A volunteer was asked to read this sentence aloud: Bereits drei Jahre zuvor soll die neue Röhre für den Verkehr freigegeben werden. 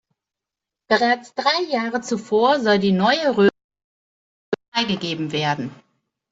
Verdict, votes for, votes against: rejected, 0, 2